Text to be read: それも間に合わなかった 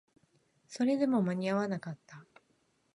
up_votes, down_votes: 0, 2